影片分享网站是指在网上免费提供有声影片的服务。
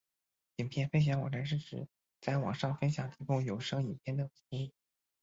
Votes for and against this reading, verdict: 2, 1, accepted